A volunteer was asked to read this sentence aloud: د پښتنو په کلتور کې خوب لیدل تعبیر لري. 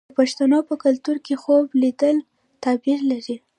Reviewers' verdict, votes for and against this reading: rejected, 1, 2